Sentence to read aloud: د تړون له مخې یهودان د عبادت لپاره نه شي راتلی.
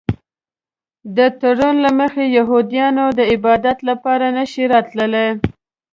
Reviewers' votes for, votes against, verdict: 1, 2, rejected